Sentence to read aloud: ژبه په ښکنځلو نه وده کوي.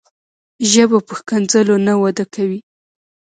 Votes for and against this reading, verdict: 2, 1, accepted